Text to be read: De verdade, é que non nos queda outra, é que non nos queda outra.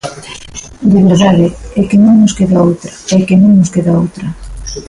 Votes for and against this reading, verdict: 2, 1, accepted